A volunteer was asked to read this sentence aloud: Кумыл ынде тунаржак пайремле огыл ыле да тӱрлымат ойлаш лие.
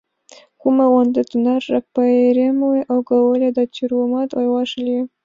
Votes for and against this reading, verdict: 1, 2, rejected